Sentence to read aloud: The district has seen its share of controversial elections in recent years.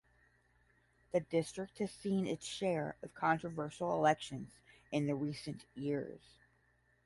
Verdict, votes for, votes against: accepted, 10, 5